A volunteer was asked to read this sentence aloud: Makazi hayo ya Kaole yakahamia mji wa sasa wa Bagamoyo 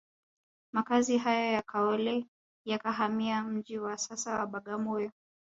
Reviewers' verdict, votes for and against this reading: rejected, 1, 2